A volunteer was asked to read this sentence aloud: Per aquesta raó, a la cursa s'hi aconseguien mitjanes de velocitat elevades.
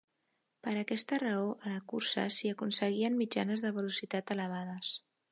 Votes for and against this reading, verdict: 3, 0, accepted